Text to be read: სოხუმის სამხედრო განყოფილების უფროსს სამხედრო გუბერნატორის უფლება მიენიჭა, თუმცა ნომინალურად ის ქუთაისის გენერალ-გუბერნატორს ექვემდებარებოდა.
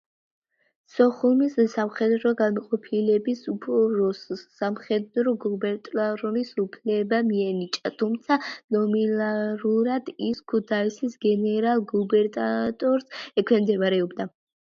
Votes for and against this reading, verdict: 0, 2, rejected